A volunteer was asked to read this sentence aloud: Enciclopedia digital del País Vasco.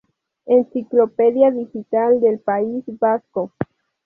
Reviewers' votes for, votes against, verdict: 2, 0, accepted